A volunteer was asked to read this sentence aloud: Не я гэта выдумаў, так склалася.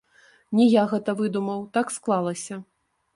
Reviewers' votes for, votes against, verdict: 1, 2, rejected